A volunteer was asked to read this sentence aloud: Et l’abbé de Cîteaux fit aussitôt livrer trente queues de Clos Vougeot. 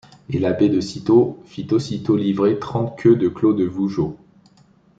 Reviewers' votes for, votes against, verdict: 1, 2, rejected